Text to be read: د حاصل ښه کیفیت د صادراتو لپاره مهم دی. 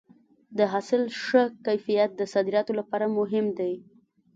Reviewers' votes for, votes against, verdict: 2, 0, accepted